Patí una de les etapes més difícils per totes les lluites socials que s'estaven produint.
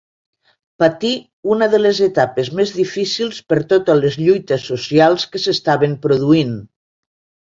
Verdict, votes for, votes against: accepted, 2, 0